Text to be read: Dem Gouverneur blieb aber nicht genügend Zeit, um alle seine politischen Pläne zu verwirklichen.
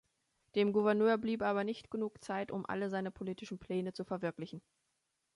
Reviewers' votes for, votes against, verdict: 0, 2, rejected